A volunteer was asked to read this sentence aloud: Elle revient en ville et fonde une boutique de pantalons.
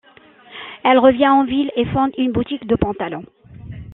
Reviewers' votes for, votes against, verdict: 2, 0, accepted